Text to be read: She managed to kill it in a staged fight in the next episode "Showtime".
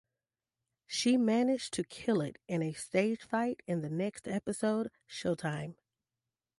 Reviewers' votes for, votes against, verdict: 2, 0, accepted